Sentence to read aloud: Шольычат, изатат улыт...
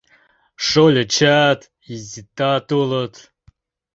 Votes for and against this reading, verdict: 1, 2, rejected